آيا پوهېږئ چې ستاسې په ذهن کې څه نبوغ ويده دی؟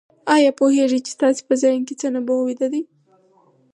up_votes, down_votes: 4, 2